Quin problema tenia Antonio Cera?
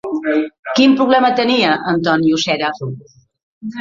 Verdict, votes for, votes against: rejected, 1, 2